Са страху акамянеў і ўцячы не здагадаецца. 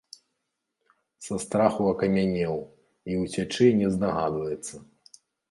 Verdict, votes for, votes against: rejected, 0, 2